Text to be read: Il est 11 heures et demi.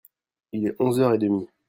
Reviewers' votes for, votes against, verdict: 0, 2, rejected